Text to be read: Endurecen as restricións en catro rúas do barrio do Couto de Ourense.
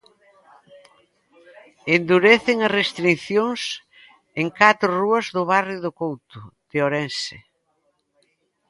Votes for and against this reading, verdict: 0, 2, rejected